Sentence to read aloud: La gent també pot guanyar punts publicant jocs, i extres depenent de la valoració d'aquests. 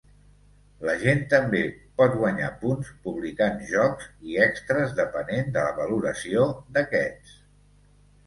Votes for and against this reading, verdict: 3, 0, accepted